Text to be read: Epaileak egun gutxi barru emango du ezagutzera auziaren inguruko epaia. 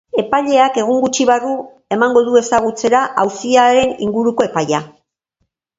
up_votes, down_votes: 2, 1